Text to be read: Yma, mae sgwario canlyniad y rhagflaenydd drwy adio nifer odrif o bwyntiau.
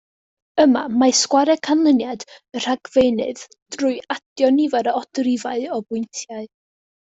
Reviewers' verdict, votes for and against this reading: rejected, 0, 2